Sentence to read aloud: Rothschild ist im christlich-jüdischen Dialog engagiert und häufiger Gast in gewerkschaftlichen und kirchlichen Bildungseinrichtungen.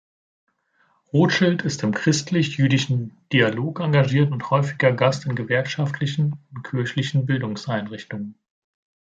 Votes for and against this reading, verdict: 2, 0, accepted